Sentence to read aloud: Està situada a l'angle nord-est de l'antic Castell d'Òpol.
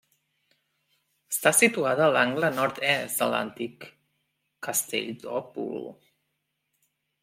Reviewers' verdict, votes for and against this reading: rejected, 0, 2